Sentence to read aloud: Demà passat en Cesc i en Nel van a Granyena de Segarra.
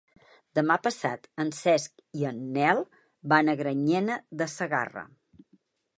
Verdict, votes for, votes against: accepted, 3, 0